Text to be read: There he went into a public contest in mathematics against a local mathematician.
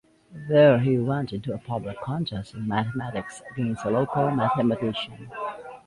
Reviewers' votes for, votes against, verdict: 1, 2, rejected